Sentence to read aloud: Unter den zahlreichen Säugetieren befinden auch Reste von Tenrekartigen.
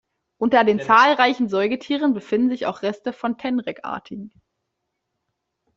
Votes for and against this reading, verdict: 0, 2, rejected